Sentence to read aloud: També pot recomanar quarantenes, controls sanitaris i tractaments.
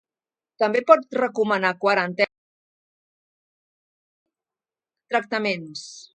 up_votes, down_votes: 0, 2